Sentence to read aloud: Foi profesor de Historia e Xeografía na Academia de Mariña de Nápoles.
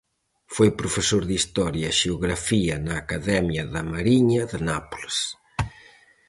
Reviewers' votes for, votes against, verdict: 2, 2, rejected